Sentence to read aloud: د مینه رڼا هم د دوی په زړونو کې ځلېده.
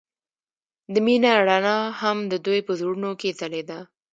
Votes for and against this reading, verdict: 0, 2, rejected